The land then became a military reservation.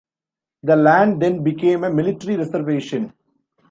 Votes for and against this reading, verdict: 2, 0, accepted